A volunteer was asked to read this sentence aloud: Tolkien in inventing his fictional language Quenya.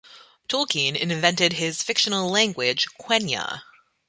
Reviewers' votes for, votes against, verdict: 1, 2, rejected